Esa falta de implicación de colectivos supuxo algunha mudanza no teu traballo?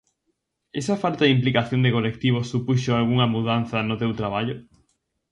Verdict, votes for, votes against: accepted, 4, 0